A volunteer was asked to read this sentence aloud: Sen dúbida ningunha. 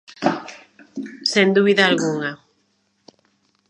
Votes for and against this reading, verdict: 0, 2, rejected